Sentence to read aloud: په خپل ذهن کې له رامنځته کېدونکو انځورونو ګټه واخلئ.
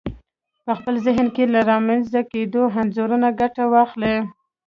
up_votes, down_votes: 2, 1